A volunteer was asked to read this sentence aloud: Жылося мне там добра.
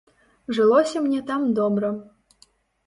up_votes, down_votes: 2, 0